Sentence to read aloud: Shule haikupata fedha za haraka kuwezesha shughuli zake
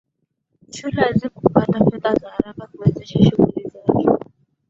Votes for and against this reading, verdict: 2, 0, accepted